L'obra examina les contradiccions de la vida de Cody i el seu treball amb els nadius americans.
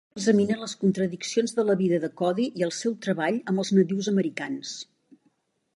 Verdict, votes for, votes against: rejected, 0, 2